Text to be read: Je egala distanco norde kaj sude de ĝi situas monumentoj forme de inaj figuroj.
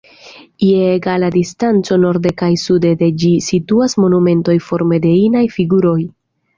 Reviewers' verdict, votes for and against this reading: accepted, 2, 0